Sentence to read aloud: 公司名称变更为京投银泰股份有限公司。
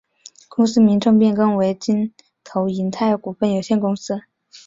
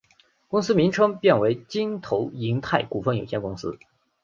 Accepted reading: first